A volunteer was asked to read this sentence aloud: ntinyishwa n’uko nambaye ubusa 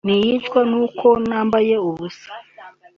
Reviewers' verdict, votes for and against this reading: accepted, 2, 0